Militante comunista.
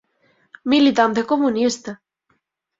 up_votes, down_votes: 6, 0